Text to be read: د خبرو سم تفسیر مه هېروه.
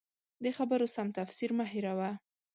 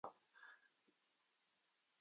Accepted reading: first